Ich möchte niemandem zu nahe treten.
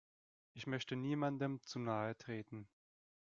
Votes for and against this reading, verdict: 1, 2, rejected